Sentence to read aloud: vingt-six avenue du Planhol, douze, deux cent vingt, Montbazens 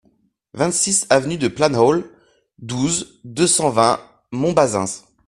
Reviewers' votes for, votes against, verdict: 2, 1, accepted